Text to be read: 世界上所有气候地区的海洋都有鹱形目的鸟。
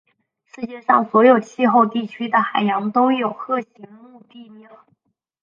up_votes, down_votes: 1, 2